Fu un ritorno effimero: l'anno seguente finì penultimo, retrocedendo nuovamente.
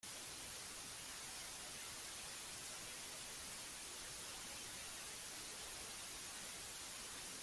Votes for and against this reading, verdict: 0, 2, rejected